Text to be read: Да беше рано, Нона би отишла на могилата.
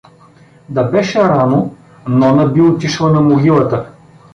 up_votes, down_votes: 2, 0